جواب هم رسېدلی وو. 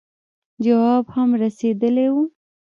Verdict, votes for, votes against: rejected, 1, 2